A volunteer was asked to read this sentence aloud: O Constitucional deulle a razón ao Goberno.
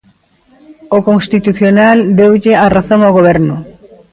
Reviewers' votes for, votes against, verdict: 2, 0, accepted